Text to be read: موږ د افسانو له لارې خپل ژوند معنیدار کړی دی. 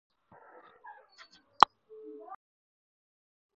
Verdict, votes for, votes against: rejected, 2, 4